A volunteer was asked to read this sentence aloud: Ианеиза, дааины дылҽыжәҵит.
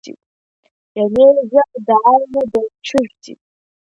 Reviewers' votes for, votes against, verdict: 1, 3, rejected